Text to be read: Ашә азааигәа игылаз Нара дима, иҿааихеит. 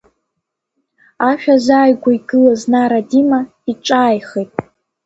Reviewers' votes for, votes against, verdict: 1, 2, rejected